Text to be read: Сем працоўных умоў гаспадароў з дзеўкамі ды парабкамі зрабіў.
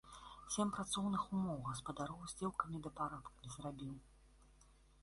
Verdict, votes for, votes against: rejected, 1, 2